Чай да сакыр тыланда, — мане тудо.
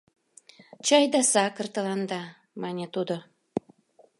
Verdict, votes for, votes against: accepted, 2, 0